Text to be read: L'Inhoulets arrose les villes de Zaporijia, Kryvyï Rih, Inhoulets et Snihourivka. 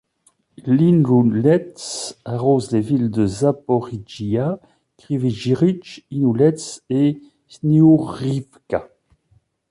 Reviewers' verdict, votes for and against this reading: rejected, 1, 2